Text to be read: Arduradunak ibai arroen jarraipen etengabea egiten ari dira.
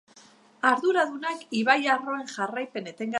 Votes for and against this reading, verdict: 0, 3, rejected